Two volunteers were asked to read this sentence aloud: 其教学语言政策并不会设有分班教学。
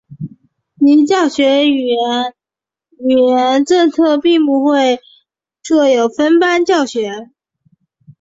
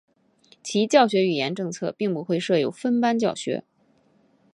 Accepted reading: second